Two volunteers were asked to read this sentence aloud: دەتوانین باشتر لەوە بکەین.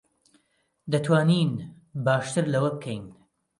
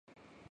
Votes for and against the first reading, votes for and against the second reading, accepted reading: 2, 0, 0, 4, first